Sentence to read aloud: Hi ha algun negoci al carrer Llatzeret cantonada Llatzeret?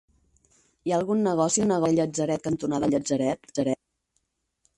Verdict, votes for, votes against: rejected, 0, 4